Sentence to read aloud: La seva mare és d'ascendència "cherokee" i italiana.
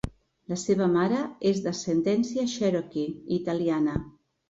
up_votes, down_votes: 1, 2